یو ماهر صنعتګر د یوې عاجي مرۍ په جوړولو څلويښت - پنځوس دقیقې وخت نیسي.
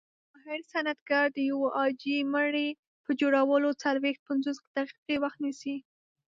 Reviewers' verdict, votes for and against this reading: rejected, 1, 2